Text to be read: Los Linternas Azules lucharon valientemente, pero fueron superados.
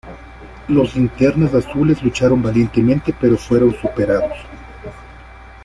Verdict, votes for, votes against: rejected, 1, 2